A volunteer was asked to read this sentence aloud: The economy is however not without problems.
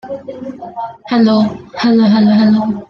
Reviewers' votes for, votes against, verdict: 0, 2, rejected